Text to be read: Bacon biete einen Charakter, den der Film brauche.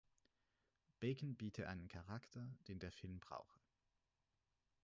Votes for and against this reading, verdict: 0, 4, rejected